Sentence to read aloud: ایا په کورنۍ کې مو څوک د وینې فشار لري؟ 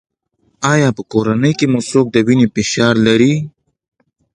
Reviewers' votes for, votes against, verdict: 2, 0, accepted